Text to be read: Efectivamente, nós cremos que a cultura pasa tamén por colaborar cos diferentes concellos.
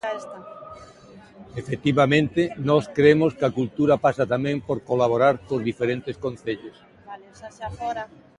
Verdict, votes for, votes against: accepted, 2, 0